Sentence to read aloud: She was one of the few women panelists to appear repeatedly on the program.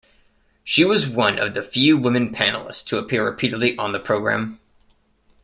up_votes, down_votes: 2, 0